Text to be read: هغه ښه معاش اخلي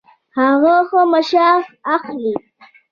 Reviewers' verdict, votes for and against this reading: accepted, 2, 0